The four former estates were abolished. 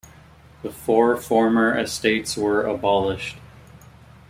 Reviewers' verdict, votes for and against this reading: accepted, 2, 0